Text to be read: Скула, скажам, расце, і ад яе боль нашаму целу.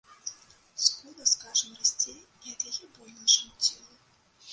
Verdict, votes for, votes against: rejected, 0, 2